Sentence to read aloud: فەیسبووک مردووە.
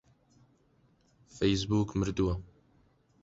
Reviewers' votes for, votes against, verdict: 2, 0, accepted